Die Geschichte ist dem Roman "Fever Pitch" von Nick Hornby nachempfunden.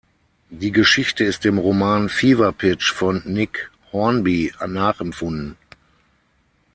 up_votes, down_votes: 3, 6